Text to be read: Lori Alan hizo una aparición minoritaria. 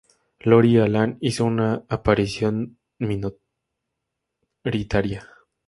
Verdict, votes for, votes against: rejected, 0, 6